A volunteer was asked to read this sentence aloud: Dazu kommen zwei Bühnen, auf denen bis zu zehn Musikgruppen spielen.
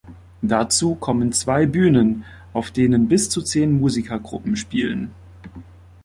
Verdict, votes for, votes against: rejected, 0, 2